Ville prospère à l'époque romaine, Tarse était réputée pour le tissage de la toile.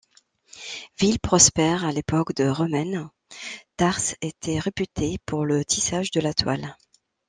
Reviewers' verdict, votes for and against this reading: rejected, 0, 3